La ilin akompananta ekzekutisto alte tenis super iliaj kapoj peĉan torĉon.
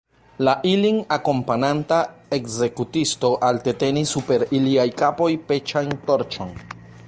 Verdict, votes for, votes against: accepted, 2, 0